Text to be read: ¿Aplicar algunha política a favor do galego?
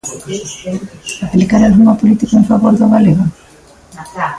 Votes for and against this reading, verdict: 0, 2, rejected